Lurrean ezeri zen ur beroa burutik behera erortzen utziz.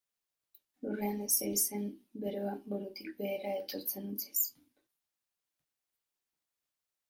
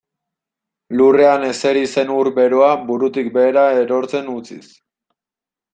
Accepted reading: second